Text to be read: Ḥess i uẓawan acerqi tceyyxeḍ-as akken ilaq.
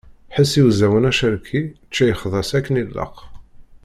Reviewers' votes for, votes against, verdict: 1, 2, rejected